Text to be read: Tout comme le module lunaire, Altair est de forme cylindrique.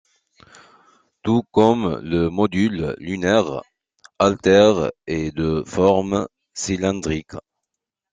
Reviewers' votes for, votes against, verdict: 3, 0, accepted